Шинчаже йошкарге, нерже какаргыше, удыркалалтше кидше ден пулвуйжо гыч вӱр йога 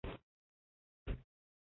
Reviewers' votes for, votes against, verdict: 0, 2, rejected